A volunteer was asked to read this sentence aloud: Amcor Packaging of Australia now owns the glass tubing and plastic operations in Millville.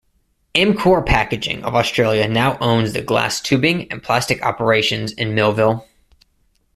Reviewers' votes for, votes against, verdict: 1, 2, rejected